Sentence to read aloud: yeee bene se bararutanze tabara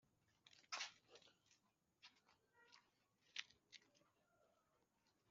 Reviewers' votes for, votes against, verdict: 0, 2, rejected